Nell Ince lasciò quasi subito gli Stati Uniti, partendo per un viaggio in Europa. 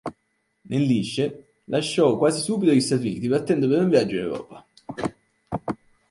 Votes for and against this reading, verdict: 1, 3, rejected